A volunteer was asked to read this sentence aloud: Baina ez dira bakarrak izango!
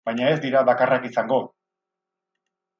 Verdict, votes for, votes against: accepted, 4, 0